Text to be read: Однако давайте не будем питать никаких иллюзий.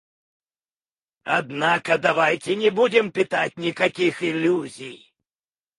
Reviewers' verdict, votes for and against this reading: rejected, 0, 2